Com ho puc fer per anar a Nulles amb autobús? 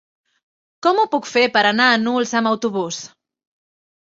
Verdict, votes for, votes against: rejected, 1, 2